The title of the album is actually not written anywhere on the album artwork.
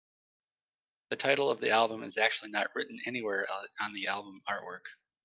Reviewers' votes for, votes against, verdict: 2, 0, accepted